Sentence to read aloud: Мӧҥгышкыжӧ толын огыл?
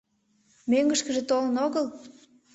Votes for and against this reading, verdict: 2, 1, accepted